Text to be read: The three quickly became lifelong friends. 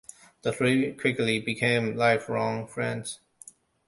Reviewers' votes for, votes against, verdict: 2, 1, accepted